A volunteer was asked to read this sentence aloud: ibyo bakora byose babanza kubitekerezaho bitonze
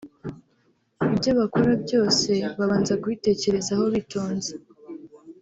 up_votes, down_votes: 3, 0